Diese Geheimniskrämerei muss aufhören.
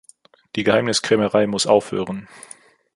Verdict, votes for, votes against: rejected, 1, 2